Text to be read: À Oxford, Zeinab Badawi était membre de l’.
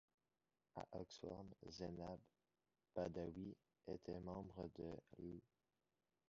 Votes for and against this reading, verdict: 1, 2, rejected